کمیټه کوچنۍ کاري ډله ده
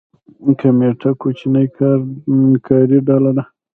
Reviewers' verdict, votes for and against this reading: rejected, 1, 2